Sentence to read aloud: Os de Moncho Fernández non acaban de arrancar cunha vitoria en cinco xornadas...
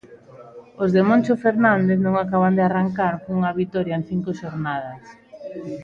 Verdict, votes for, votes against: accepted, 2, 0